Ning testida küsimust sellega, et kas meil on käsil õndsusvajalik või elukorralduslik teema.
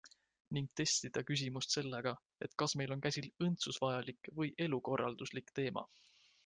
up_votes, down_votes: 2, 0